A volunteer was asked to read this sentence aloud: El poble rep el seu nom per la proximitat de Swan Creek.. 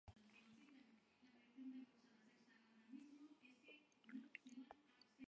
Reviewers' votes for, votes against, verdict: 0, 2, rejected